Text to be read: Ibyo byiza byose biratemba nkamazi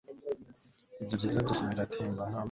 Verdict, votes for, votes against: rejected, 1, 3